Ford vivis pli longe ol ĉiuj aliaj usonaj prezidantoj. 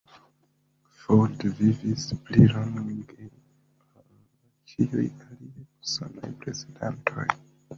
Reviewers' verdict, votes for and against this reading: rejected, 1, 2